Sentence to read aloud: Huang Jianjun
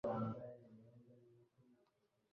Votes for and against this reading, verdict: 0, 2, rejected